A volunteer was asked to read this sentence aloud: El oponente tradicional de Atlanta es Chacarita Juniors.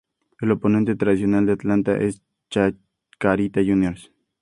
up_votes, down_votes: 2, 0